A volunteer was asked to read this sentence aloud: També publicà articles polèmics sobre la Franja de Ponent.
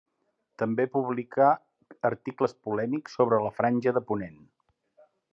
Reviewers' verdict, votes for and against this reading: accepted, 3, 0